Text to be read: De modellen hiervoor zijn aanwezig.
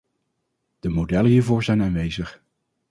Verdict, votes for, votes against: accepted, 2, 0